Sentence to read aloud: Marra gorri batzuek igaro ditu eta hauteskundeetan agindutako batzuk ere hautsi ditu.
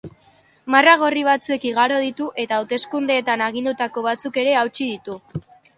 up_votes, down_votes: 2, 0